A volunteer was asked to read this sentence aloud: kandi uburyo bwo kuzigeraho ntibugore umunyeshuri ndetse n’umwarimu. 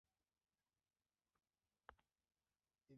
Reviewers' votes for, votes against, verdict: 0, 2, rejected